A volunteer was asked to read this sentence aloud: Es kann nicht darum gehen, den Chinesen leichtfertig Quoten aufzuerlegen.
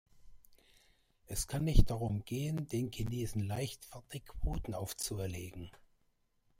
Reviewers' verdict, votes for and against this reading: rejected, 1, 2